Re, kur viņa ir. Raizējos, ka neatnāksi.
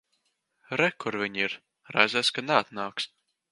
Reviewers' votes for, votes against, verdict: 0, 2, rejected